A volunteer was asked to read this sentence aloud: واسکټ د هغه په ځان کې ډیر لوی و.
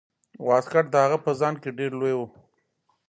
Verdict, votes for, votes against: rejected, 0, 2